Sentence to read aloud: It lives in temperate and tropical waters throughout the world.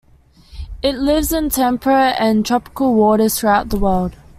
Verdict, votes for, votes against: accepted, 2, 0